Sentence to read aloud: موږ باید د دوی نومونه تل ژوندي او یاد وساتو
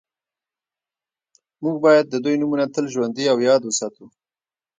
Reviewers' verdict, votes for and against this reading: rejected, 1, 2